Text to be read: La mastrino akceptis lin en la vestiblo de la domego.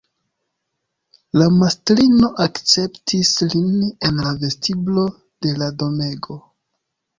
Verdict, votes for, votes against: accepted, 2, 0